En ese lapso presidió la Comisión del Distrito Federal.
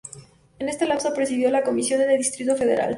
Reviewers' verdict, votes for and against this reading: rejected, 0, 2